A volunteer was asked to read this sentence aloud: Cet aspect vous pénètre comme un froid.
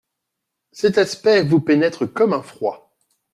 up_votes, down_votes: 2, 0